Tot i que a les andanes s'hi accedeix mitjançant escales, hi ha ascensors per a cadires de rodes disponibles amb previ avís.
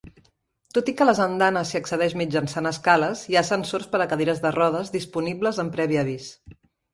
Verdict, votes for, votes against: accepted, 2, 0